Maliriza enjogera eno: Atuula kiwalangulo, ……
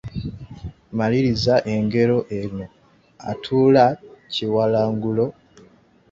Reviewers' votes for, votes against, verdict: 0, 2, rejected